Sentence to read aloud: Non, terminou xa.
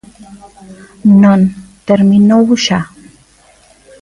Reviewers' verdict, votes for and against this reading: accepted, 2, 0